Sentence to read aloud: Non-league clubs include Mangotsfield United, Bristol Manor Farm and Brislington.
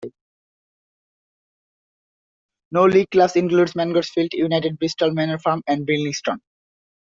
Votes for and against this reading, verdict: 0, 2, rejected